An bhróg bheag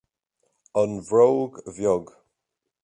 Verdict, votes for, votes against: accepted, 2, 0